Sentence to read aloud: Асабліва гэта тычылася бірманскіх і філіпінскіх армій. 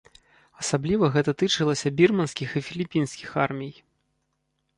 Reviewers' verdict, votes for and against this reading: rejected, 0, 2